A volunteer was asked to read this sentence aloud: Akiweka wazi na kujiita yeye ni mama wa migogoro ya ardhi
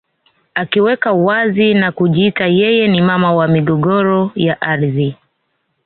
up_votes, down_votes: 2, 1